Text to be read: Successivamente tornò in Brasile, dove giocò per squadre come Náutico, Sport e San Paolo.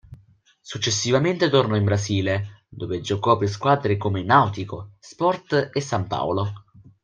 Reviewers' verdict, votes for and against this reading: accepted, 2, 0